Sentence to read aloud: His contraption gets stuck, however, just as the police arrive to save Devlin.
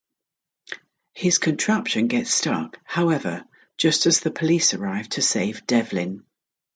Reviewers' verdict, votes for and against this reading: accepted, 2, 0